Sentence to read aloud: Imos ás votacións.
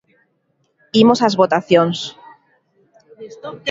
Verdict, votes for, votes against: accepted, 2, 0